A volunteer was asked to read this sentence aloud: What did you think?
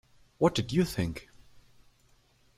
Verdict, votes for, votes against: accepted, 2, 0